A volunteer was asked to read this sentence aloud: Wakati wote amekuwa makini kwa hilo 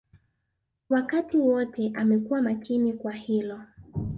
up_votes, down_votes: 2, 0